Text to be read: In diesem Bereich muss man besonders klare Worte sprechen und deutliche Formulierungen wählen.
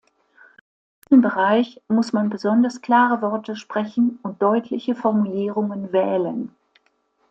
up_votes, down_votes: 0, 2